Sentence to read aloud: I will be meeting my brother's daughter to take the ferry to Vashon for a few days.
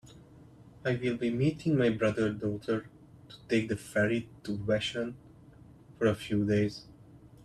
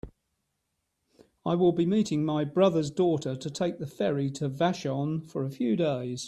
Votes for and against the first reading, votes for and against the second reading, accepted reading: 1, 2, 3, 0, second